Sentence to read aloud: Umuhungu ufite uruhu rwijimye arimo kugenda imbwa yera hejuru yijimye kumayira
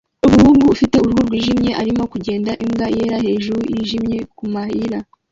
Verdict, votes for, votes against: rejected, 1, 2